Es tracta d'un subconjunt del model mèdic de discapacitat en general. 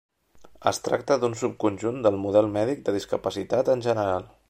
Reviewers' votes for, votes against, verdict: 3, 0, accepted